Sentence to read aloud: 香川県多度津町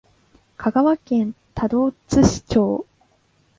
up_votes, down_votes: 1, 2